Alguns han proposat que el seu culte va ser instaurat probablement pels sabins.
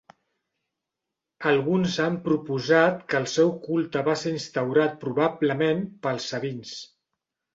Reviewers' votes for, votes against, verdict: 5, 0, accepted